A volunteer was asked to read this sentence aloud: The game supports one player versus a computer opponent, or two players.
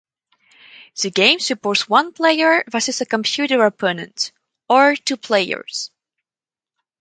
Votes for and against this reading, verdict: 0, 2, rejected